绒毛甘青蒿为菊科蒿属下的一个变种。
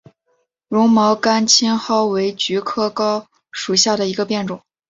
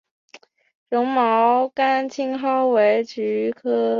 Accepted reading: first